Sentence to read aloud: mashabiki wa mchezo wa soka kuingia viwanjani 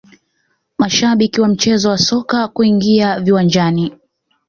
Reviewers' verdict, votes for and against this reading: rejected, 1, 2